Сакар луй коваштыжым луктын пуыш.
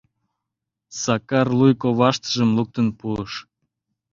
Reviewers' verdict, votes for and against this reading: accepted, 2, 0